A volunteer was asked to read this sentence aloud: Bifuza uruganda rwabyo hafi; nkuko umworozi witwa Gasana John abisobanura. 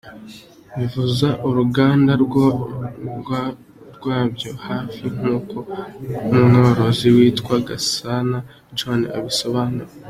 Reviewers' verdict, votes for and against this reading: rejected, 0, 2